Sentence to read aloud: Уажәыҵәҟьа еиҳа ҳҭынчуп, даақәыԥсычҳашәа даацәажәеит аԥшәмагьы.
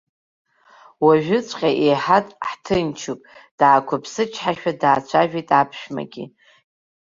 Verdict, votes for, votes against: rejected, 1, 2